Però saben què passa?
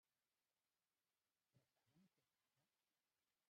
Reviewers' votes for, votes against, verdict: 0, 2, rejected